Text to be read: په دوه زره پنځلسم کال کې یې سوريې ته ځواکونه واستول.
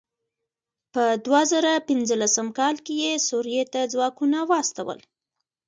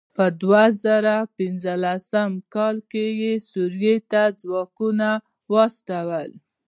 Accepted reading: first